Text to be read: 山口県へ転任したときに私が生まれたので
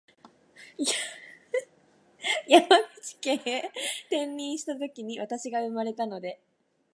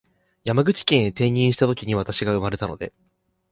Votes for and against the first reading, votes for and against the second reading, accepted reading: 0, 2, 2, 0, second